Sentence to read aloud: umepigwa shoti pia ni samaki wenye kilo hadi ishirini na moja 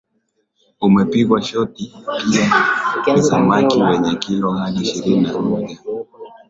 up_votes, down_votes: 0, 2